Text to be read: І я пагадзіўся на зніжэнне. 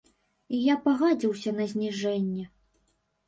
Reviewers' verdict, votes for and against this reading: rejected, 0, 2